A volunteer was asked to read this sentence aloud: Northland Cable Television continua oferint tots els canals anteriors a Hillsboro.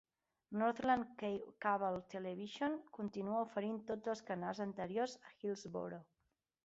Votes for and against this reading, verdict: 1, 2, rejected